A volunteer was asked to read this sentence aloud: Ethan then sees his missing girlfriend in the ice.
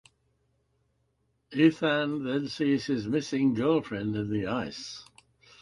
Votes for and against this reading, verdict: 2, 1, accepted